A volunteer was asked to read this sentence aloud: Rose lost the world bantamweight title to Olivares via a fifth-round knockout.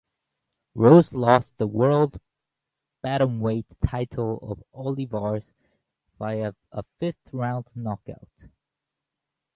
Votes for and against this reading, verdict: 0, 4, rejected